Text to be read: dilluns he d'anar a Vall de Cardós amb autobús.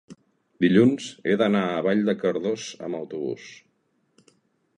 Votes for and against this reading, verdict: 2, 0, accepted